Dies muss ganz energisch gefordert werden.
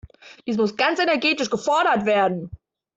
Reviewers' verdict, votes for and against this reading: rejected, 1, 2